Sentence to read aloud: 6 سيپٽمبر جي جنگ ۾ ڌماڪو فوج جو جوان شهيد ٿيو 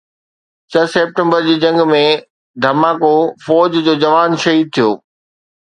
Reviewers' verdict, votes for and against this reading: rejected, 0, 2